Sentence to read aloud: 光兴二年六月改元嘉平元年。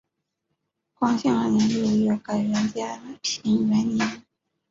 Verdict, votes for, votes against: accepted, 2, 0